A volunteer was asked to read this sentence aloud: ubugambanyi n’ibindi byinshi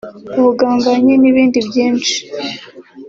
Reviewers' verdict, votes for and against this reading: accepted, 2, 0